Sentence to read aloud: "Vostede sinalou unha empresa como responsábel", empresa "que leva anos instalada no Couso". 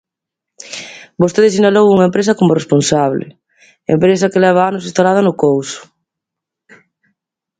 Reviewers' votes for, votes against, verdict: 1, 2, rejected